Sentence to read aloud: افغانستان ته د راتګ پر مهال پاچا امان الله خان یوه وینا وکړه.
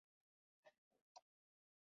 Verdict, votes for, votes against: rejected, 0, 2